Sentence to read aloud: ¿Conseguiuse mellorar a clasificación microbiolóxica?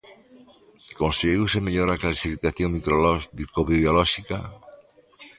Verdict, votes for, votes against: rejected, 0, 2